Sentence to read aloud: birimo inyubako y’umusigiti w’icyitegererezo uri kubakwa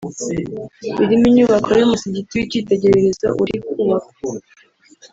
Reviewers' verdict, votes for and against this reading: accepted, 2, 0